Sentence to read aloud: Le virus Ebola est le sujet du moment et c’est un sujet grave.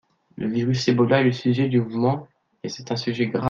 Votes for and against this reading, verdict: 1, 2, rejected